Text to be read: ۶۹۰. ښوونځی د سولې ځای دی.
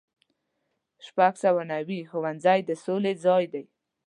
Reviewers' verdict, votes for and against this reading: rejected, 0, 2